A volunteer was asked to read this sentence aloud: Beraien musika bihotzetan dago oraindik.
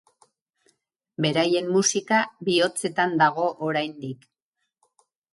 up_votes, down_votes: 2, 0